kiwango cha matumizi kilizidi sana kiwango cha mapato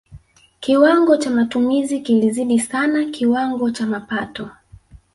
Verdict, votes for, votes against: accepted, 2, 1